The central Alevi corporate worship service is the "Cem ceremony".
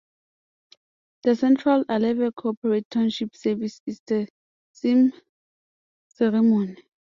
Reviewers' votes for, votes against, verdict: 0, 2, rejected